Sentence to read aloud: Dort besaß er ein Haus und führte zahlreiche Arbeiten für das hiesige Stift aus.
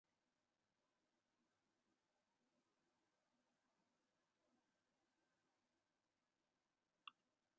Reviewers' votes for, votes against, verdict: 0, 2, rejected